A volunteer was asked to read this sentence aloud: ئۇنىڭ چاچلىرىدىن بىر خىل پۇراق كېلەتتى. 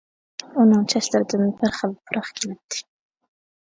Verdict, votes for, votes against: rejected, 1, 2